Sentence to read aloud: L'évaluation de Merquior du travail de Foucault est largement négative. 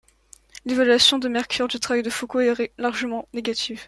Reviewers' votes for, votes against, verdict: 1, 2, rejected